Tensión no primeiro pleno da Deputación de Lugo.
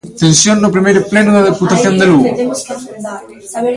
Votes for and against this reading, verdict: 0, 2, rejected